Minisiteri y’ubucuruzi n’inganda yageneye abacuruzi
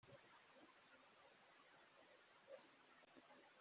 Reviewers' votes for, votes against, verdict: 1, 2, rejected